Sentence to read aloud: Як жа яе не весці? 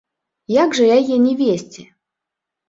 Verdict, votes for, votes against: accepted, 2, 0